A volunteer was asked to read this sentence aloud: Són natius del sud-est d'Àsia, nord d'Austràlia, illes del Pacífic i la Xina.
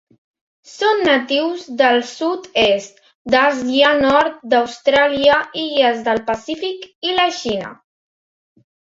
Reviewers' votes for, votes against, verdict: 2, 0, accepted